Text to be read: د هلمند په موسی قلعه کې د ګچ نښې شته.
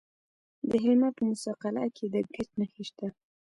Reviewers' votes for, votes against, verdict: 1, 2, rejected